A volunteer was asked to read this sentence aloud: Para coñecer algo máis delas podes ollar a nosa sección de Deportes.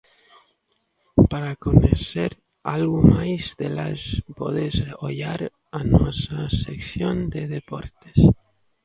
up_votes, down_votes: 1, 2